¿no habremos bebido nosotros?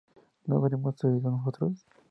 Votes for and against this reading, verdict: 0, 2, rejected